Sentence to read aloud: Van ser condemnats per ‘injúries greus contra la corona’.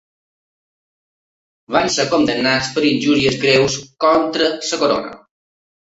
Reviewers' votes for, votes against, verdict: 0, 2, rejected